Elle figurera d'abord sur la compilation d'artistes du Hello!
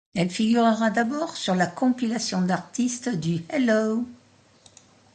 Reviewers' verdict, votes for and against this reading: accepted, 2, 0